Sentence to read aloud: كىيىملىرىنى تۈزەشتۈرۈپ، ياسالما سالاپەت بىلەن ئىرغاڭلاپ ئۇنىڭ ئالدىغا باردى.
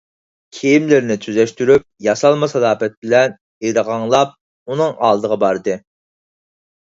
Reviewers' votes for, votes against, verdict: 4, 0, accepted